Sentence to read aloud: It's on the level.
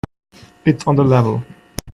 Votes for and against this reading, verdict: 2, 0, accepted